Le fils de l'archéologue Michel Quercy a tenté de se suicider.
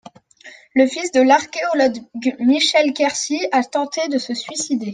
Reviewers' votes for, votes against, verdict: 1, 2, rejected